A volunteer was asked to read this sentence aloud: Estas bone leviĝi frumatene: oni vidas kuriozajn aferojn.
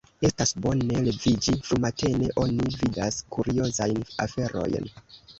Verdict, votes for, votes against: rejected, 1, 2